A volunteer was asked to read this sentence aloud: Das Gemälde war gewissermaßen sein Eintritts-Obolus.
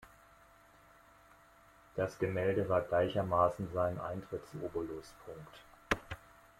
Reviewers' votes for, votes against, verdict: 0, 2, rejected